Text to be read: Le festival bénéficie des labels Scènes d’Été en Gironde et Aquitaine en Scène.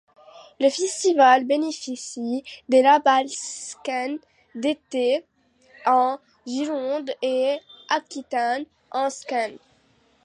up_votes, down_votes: 1, 2